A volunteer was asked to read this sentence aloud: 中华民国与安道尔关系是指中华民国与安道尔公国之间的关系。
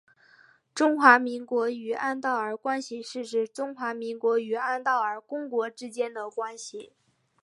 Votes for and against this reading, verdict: 10, 0, accepted